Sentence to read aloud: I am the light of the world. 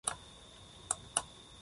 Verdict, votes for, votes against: rejected, 0, 2